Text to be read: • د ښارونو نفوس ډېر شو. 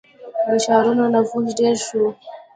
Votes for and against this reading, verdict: 2, 0, accepted